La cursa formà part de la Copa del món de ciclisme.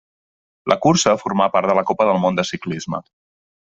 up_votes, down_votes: 2, 1